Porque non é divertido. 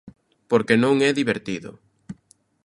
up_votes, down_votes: 2, 0